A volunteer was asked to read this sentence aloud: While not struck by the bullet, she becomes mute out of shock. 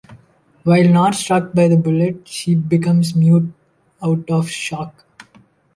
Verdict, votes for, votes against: accepted, 2, 0